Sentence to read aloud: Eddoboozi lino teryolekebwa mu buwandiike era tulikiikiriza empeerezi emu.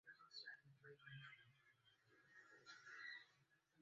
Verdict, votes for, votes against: rejected, 0, 2